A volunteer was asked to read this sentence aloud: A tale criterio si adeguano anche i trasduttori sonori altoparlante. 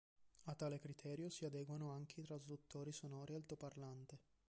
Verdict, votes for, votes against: rejected, 1, 2